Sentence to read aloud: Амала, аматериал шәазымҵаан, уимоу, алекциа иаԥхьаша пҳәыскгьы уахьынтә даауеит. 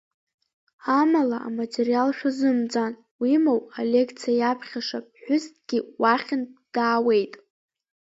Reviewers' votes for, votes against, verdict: 1, 2, rejected